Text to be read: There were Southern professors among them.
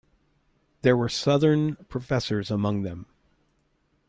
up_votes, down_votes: 2, 0